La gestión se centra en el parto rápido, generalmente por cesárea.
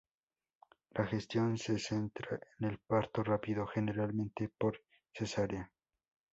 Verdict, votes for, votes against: rejected, 0, 2